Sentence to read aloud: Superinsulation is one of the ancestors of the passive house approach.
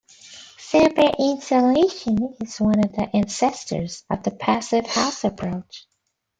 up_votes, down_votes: 0, 2